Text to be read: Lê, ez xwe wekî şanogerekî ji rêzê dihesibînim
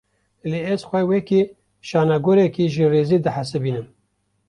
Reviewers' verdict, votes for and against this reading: accepted, 2, 1